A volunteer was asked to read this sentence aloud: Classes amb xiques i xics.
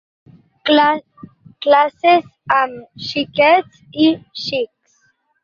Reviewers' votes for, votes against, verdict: 2, 4, rejected